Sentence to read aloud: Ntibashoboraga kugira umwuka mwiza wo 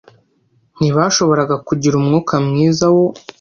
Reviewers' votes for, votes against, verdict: 2, 0, accepted